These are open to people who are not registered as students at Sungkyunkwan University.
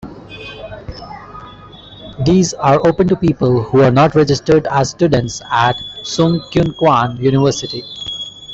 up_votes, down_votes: 2, 0